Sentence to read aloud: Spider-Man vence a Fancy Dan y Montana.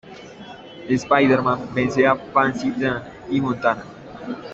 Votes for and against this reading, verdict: 2, 0, accepted